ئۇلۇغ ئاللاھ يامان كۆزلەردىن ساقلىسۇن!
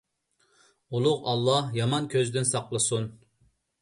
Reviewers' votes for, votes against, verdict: 1, 2, rejected